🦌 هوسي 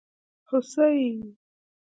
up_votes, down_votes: 1, 2